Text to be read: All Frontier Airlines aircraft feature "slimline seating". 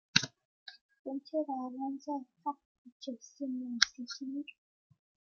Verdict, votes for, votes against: rejected, 0, 2